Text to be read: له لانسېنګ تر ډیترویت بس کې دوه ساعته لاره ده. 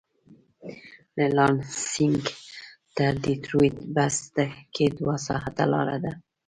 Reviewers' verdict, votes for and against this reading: rejected, 0, 2